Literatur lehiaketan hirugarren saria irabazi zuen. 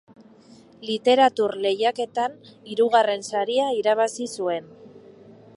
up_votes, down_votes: 3, 0